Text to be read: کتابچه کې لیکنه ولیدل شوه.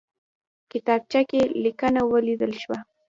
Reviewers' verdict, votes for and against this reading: accepted, 2, 0